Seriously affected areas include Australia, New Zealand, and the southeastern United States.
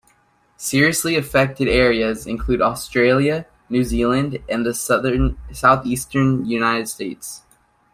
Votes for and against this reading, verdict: 0, 2, rejected